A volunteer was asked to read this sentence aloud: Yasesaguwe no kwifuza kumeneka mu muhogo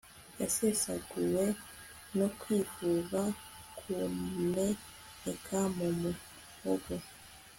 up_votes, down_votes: 2, 0